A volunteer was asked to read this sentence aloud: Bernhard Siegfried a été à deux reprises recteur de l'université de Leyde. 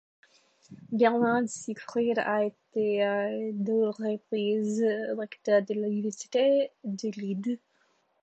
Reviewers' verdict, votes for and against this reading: rejected, 1, 2